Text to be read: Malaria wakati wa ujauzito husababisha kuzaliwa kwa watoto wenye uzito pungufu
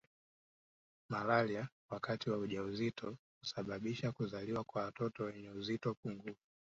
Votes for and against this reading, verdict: 1, 2, rejected